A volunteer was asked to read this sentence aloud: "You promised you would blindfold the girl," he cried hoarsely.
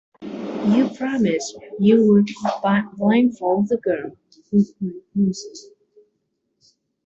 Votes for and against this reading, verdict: 0, 2, rejected